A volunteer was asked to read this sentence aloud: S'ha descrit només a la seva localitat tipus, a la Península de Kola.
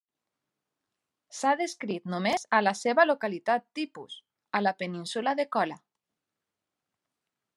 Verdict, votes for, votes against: accepted, 3, 0